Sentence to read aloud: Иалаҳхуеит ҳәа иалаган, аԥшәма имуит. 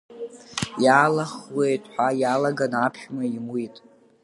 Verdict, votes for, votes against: accepted, 2, 1